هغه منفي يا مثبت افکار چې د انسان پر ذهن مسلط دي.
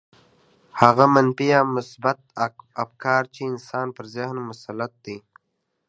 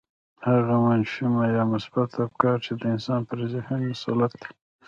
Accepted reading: first